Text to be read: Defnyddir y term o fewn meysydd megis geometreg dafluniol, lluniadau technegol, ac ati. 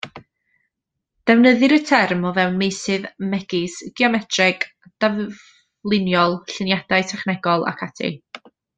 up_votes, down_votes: 1, 2